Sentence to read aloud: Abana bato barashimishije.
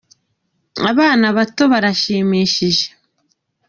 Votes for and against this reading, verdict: 2, 0, accepted